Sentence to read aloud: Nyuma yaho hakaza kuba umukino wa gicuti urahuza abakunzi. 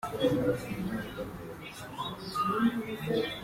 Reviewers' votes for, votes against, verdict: 0, 2, rejected